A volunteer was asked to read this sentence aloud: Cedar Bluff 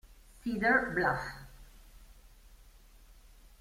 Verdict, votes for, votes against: rejected, 1, 2